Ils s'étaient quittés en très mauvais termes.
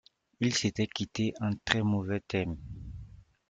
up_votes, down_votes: 2, 0